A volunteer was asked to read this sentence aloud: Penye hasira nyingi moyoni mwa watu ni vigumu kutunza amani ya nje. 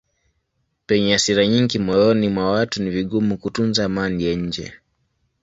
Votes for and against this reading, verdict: 3, 0, accepted